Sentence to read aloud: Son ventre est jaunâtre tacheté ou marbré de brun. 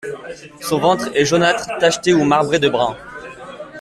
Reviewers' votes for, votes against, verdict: 2, 0, accepted